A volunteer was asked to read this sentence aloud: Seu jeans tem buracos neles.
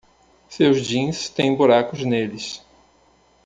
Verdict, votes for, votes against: rejected, 1, 2